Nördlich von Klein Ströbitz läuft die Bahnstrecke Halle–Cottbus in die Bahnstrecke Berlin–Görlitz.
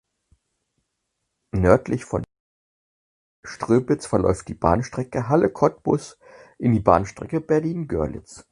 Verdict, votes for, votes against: rejected, 0, 6